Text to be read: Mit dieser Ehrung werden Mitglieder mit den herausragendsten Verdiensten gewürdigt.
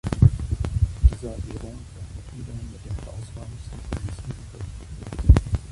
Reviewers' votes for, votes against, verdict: 0, 2, rejected